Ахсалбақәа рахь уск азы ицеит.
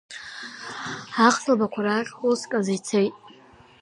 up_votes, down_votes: 2, 1